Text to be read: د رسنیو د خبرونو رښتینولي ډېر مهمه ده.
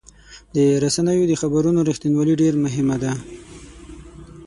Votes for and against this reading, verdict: 6, 0, accepted